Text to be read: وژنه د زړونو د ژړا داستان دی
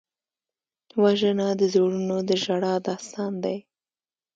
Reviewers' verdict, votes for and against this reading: accepted, 2, 1